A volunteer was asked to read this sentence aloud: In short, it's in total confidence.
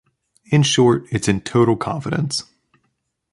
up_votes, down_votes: 2, 0